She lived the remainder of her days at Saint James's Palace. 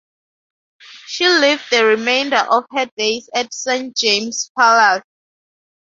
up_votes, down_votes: 0, 2